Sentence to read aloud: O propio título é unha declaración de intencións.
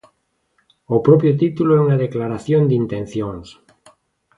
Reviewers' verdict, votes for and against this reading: accepted, 2, 0